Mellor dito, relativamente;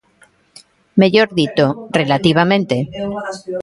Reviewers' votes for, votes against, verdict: 1, 2, rejected